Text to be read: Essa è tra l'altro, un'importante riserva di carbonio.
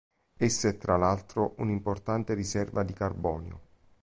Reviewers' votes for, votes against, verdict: 3, 0, accepted